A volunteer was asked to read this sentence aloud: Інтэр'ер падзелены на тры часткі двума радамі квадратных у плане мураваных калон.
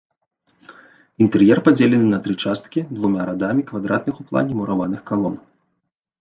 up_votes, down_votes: 2, 0